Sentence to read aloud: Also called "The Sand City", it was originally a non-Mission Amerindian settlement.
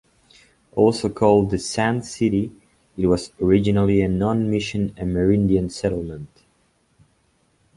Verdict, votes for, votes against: accepted, 2, 0